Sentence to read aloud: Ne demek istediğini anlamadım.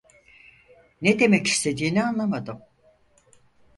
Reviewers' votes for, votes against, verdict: 4, 0, accepted